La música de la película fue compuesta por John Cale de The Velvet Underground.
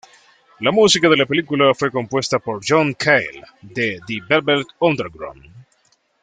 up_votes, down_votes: 2, 1